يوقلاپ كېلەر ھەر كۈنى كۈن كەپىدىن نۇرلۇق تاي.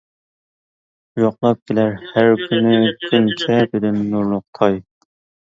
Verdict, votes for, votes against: rejected, 0, 2